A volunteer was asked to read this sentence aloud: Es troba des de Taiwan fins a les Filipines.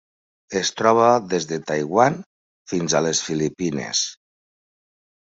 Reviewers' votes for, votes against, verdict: 3, 1, accepted